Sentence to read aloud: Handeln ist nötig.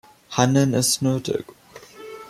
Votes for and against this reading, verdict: 1, 2, rejected